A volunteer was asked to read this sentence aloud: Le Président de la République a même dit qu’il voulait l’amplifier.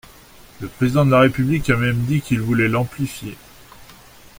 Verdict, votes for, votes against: accepted, 2, 0